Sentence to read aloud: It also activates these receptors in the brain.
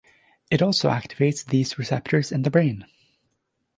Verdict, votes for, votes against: accepted, 2, 0